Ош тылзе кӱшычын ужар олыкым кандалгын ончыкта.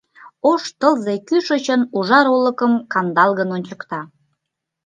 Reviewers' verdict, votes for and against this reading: accepted, 2, 0